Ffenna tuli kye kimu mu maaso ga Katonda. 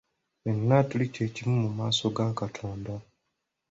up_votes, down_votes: 2, 0